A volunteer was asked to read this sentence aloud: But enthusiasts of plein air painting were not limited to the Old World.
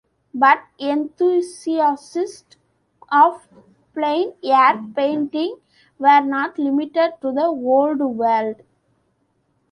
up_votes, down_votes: 0, 2